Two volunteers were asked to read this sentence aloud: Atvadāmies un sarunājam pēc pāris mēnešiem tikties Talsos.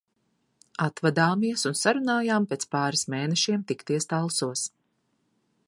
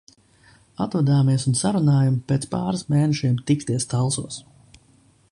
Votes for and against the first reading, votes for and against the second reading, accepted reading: 0, 2, 2, 0, second